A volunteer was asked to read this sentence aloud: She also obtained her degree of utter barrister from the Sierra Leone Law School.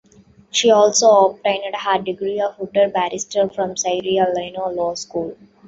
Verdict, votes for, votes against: rejected, 1, 2